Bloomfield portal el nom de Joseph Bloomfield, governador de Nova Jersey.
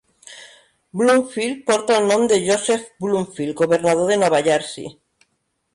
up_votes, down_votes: 2, 1